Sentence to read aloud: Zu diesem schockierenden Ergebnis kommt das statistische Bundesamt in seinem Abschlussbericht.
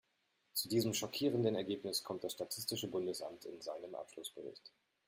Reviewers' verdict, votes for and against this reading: rejected, 1, 2